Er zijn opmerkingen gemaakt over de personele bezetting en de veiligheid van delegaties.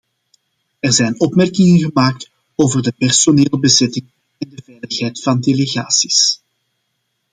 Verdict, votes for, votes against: rejected, 1, 2